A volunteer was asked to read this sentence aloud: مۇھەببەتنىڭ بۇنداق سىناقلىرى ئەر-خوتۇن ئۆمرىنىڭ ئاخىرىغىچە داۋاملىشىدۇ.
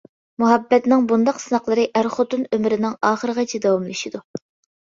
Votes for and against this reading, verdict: 2, 1, accepted